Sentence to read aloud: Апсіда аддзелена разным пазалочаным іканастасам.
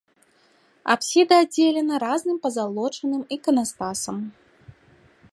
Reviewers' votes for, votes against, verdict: 0, 2, rejected